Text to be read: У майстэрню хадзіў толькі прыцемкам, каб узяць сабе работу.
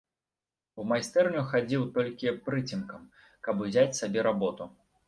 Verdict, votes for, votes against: accepted, 2, 0